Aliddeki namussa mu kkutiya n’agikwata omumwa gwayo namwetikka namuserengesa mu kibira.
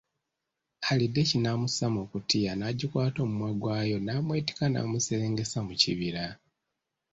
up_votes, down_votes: 2, 0